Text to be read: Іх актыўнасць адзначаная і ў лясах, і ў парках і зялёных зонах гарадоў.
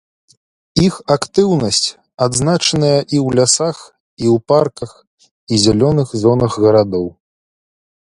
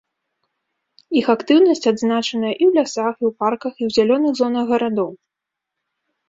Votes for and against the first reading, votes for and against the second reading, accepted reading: 2, 0, 1, 2, first